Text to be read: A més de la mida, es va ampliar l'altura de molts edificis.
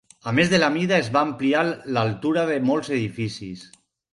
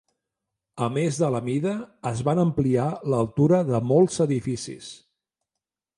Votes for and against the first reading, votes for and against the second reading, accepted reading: 4, 0, 1, 2, first